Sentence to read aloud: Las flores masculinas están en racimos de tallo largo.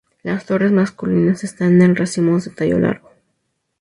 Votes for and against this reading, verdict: 4, 0, accepted